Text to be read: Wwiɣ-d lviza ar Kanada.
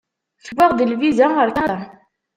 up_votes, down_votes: 0, 2